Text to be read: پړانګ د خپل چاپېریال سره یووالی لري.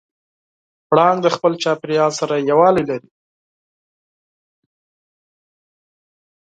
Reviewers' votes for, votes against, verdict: 6, 0, accepted